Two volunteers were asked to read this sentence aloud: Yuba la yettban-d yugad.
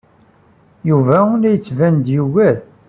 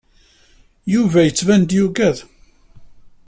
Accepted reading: first